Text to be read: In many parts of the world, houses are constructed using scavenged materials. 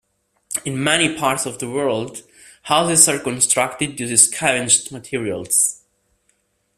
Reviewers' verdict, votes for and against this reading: accepted, 2, 0